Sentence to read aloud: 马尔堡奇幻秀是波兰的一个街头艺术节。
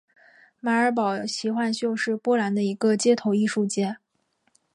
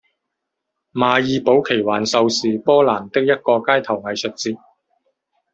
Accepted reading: first